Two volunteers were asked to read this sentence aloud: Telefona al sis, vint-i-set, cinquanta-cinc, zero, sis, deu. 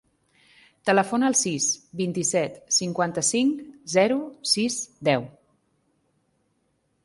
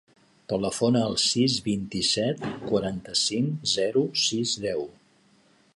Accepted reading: first